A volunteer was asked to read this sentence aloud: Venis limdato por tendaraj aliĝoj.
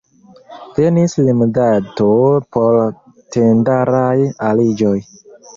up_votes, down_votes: 3, 0